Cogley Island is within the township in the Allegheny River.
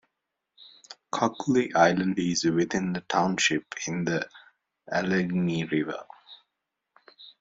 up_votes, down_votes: 0, 2